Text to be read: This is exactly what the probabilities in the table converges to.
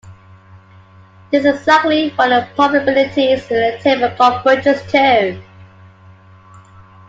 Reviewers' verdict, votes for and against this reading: rejected, 0, 2